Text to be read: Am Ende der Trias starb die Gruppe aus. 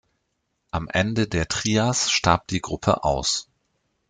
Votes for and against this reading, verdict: 2, 0, accepted